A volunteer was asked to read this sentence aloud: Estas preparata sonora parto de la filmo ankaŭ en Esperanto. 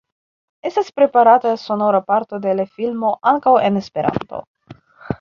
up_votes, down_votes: 0, 2